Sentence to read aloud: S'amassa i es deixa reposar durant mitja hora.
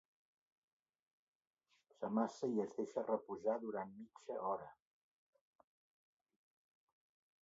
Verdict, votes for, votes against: accepted, 2, 1